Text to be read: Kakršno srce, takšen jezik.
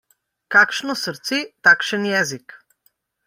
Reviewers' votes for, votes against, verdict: 1, 2, rejected